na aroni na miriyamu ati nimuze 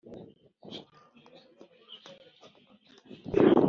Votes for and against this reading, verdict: 0, 2, rejected